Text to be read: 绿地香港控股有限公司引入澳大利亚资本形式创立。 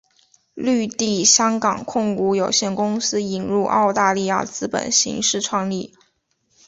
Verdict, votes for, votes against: accepted, 5, 0